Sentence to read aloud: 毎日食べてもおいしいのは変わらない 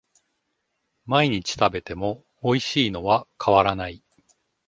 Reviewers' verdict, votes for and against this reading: accepted, 2, 0